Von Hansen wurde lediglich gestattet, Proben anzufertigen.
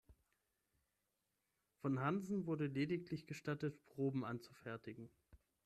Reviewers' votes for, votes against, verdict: 3, 3, rejected